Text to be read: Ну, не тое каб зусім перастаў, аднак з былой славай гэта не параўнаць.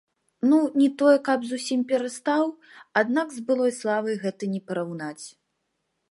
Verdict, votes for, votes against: rejected, 0, 2